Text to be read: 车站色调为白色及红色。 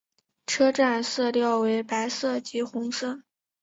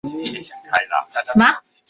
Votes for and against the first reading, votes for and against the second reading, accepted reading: 4, 0, 1, 2, first